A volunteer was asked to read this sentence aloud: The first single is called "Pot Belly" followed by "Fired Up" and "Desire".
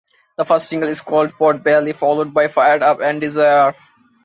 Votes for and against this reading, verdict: 2, 0, accepted